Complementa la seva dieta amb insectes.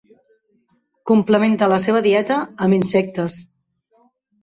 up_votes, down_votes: 3, 1